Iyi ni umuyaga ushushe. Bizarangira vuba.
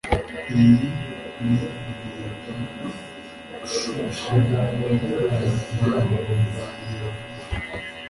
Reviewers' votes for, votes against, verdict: 0, 2, rejected